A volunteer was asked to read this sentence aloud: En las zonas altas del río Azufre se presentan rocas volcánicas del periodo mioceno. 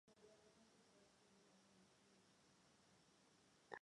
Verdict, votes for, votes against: rejected, 0, 2